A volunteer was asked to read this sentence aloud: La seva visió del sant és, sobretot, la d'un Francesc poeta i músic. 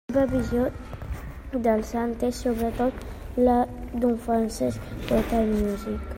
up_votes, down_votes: 1, 2